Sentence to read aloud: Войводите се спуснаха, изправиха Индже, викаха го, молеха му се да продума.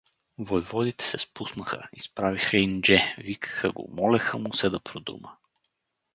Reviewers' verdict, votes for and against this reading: accepted, 4, 0